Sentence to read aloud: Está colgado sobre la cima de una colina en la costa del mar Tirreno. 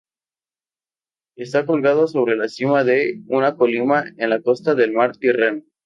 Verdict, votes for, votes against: rejected, 0, 2